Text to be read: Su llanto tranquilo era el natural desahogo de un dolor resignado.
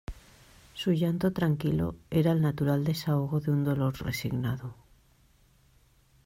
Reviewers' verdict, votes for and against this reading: accepted, 2, 0